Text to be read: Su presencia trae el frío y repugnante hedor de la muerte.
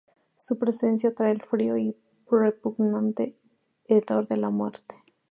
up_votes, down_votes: 2, 0